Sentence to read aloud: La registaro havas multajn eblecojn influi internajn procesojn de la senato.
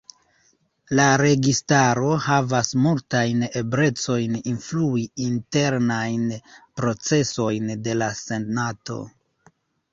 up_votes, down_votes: 2, 1